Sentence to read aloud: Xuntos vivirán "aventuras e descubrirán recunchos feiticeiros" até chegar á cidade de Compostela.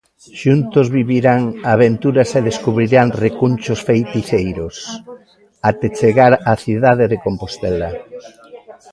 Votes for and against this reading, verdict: 1, 2, rejected